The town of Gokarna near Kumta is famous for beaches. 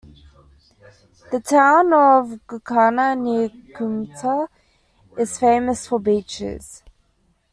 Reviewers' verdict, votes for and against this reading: rejected, 1, 2